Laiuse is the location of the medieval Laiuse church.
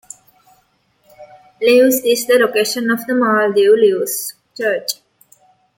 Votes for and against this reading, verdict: 1, 2, rejected